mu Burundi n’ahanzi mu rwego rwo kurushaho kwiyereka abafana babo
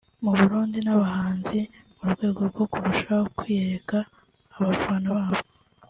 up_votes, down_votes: 1, 2